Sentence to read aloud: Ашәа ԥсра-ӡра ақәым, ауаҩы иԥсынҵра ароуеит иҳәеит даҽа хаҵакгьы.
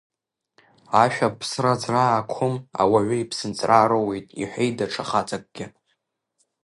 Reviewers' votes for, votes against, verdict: 2, 3, rejected